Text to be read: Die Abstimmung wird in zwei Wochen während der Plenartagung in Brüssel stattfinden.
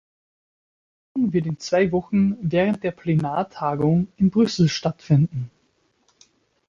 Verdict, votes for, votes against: rejected, 1, 3